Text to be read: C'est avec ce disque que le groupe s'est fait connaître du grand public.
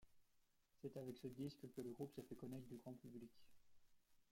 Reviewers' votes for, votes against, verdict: 1, 2, rejected